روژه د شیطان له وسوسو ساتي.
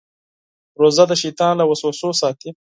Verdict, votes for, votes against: accepted, 4, 0